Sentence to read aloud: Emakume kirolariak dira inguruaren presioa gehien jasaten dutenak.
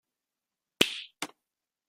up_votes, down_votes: 0, 2